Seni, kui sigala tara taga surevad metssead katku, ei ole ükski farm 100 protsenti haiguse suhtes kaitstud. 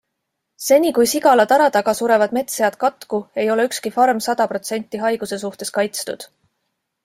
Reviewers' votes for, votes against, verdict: 0, 2, rejected